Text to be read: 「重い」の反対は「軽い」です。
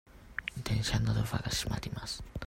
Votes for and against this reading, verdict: 0, 2, rejected